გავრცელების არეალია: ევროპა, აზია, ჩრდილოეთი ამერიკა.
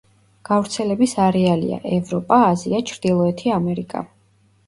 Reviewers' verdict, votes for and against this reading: rejected, 0, 2